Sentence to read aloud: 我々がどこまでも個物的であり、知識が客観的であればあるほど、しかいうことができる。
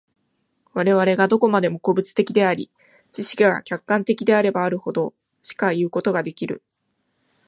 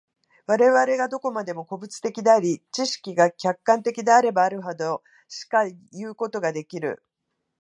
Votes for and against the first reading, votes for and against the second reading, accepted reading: 2, 0, 0, 2, first